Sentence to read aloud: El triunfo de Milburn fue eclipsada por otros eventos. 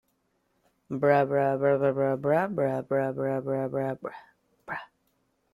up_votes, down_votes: 0, 2